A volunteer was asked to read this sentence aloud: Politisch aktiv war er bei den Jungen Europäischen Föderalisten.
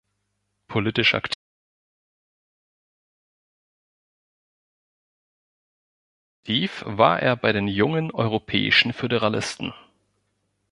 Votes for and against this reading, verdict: 1, 2, rejected